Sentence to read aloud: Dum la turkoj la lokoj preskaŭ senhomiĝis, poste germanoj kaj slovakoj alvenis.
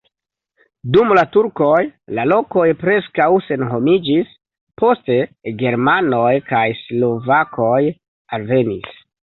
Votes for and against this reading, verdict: 2, 0, accepted